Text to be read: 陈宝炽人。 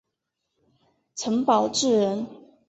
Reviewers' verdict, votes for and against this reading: accepted, 3, 0